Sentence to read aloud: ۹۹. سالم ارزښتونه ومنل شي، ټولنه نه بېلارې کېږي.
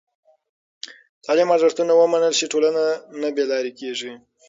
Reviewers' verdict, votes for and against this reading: rejected, 0, 2